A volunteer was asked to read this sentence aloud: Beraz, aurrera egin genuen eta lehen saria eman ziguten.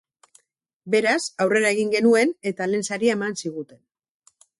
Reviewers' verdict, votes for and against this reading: accepted, 4, 0